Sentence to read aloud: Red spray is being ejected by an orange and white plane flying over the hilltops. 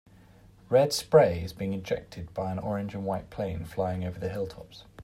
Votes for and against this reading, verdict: 2, 0, accepted